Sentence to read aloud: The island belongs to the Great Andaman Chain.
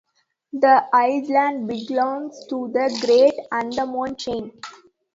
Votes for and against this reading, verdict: 0, 2, rejected